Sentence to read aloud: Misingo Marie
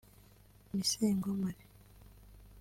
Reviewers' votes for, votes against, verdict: 2, 0, accepted